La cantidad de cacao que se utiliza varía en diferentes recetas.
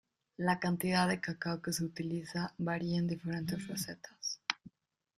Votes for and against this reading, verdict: 2, 0, accepted